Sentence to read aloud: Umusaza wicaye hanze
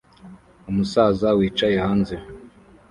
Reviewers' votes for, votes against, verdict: 2, 0, accepted